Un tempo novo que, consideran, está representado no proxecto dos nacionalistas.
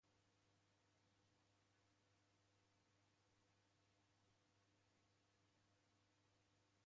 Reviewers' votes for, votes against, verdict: 0, 2, rejected